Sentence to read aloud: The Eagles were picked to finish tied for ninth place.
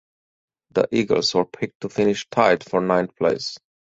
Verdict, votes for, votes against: accepted, 4, 0